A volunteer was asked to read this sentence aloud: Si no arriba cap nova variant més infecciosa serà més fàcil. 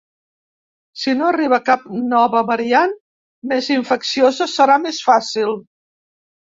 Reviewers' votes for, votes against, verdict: 3, 0, accepted